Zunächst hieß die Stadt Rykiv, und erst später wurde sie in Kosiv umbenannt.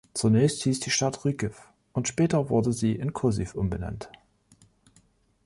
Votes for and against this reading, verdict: 1, 3, rejected